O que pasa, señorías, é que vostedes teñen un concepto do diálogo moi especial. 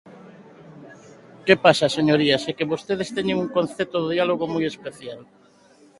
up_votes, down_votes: 0, 2